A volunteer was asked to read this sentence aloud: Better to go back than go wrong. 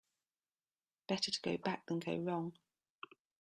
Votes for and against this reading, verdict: 2, 0, accepted